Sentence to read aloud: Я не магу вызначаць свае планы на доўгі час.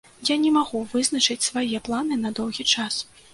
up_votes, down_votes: 1, 2